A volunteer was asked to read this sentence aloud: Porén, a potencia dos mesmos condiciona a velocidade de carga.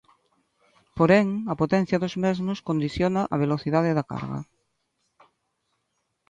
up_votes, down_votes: 2, 3